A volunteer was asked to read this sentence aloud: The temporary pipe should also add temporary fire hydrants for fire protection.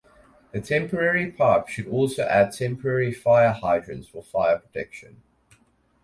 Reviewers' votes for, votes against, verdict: 4, 0, accepted